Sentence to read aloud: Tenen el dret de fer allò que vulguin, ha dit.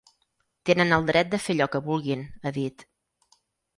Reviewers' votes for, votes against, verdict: 6, 0, accepted